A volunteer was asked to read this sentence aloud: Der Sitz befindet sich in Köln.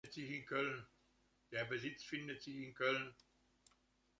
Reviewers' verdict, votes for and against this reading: rejected, 0, 2